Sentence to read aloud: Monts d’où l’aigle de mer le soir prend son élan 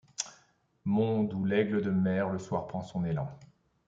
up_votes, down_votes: 2, 0